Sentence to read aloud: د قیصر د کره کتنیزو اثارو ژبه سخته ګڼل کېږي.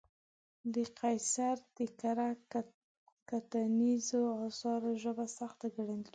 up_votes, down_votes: 1, 2